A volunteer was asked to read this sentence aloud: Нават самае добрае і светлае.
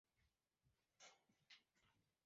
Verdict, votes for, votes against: rejected, 1, 2